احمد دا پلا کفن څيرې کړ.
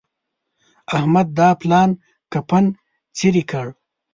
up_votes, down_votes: 0, 2